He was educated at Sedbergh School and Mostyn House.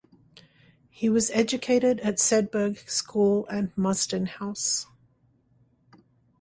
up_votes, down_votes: 2, 0